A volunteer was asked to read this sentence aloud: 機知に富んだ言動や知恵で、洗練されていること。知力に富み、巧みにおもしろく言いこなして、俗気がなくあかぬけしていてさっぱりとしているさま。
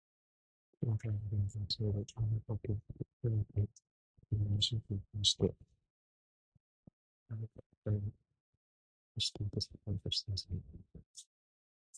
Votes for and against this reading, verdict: 0, 2, rejected